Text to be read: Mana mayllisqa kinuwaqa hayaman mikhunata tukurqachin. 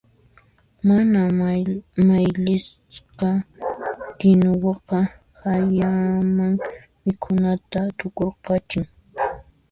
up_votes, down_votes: 1, 2